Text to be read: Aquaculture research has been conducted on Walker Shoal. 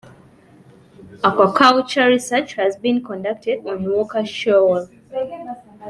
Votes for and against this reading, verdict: 2, 0, accepted